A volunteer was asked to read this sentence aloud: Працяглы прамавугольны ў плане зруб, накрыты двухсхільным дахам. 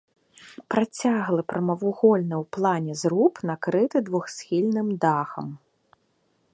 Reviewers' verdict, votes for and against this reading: accepted, 2, 0